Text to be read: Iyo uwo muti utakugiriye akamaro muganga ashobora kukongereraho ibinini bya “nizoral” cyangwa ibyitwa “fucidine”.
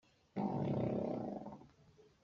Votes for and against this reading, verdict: 0, 2, rejected